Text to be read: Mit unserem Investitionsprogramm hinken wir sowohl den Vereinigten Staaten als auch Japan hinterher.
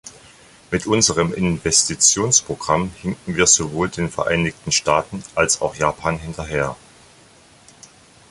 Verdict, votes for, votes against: accepted, 2, 0